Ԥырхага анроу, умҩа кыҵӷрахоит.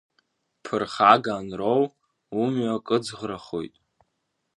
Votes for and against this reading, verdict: 2, 0, accepted